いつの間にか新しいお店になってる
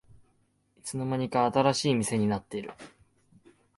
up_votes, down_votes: 1, 2